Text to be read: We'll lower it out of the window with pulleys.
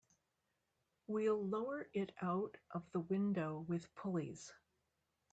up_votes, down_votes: 2, 0